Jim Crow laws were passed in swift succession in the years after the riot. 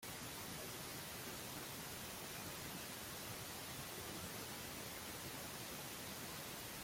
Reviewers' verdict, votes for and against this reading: rejected, 0, 2